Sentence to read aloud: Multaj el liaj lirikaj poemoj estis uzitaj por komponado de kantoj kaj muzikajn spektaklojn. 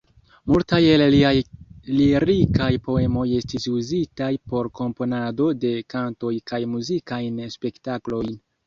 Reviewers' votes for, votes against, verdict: 0, 2, rejected